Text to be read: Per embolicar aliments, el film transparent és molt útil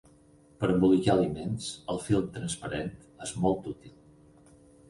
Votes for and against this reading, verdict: 4, 0, accepted